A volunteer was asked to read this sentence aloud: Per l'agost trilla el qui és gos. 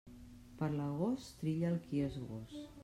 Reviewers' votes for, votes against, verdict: 0, 2, rejected